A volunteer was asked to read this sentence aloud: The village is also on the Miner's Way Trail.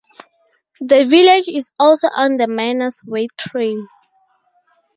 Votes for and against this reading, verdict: 0, 2, rejected